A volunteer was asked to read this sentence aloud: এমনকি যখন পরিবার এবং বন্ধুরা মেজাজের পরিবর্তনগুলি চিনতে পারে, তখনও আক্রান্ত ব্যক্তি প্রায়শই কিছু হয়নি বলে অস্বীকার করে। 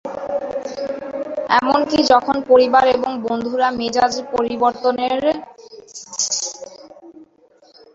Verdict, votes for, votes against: rejected, 0, 2